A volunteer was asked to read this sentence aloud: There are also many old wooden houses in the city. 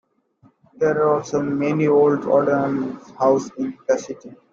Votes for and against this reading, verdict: 2, 1, accepted